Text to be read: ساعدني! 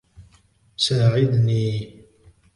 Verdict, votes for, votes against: accepted, 2, 0